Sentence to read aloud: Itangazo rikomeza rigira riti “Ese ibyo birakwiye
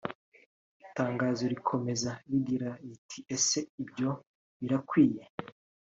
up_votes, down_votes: 2, 0